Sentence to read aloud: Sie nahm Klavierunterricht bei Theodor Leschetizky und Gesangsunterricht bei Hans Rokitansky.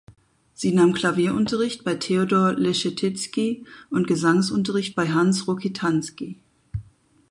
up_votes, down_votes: 4, 0